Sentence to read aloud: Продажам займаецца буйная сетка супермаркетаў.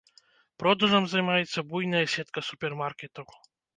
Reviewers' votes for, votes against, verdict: 1, 2, rejected